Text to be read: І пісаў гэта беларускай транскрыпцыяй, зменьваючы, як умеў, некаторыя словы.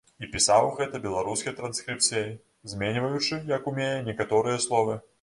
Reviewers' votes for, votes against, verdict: 0, 2, rejected